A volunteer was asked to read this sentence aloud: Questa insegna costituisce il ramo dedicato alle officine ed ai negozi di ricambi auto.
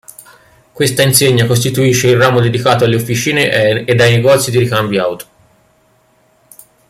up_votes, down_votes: 1, 2